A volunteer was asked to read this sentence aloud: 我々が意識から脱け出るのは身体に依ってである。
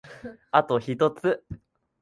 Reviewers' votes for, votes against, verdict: 0, 2, rejected